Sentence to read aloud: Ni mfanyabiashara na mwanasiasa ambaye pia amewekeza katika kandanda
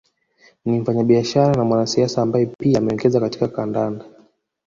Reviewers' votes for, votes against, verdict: 1, 2, rejected